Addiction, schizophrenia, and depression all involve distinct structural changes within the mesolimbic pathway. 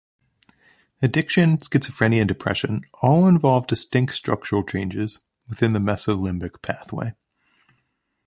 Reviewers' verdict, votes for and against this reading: accepted, 2, 0